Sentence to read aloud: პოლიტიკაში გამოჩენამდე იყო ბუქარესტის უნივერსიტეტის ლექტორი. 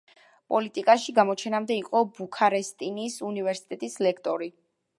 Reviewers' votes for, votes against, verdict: 1, 2, rejected